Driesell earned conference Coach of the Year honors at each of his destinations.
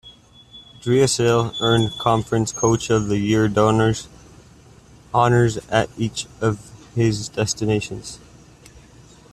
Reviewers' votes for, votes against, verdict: 0, 2, rejected